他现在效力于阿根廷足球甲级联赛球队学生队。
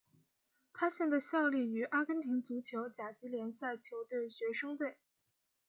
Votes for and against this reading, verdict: 2, 0, accepted